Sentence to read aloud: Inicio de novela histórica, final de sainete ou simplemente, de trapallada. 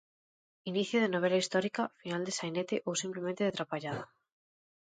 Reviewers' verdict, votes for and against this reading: accepted, 2, 0